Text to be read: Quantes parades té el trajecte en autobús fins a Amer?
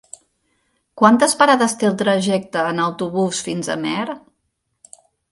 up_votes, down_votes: 2, 0